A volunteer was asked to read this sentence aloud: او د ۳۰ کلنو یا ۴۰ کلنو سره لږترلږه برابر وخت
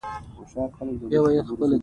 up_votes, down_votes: 0, 2